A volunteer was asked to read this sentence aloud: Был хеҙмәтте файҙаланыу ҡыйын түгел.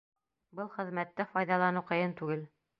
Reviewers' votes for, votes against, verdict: 0, 2, rejected